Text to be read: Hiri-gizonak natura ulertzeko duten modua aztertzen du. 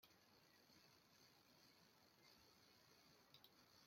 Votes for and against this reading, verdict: 0, 2, rejected